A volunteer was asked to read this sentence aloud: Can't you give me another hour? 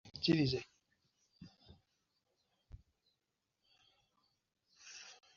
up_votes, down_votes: 0, 3